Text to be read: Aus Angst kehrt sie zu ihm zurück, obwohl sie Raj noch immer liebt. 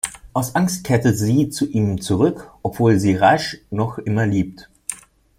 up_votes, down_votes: 1, 2